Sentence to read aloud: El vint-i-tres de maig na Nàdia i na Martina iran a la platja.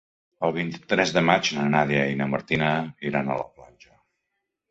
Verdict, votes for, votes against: rejected, 1, 2